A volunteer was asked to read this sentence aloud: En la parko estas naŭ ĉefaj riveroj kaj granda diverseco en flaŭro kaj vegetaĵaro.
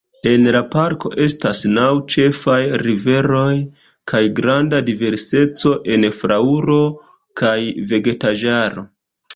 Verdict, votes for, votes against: rejected, 0, 2